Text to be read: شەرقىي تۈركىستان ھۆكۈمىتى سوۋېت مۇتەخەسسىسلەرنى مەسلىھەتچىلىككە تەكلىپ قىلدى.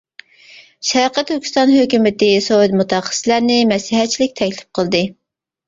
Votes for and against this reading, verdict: 1, 2, rejected